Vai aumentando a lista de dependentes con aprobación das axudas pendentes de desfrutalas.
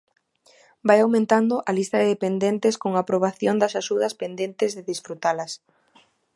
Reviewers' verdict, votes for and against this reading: accepted, 2, 1